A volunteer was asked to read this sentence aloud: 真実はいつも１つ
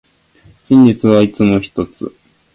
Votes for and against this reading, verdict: 0, 2, rejected